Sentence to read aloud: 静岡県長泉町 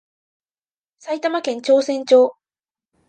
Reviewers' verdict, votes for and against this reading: rejected, 0, 2